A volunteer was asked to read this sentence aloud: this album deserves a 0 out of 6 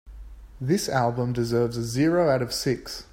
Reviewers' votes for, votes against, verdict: 0, 2, rejected